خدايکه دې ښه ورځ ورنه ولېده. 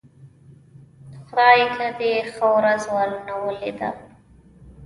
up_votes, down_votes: 1, 2